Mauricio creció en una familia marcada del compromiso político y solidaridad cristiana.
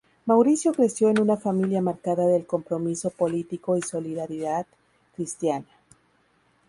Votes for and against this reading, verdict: 2, 0, accepted